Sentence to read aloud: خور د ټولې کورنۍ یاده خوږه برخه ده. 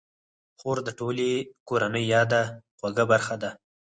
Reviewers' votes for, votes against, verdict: 4, 2, accepted